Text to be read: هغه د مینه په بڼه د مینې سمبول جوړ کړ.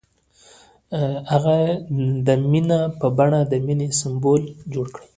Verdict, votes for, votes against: rejected, 1, 2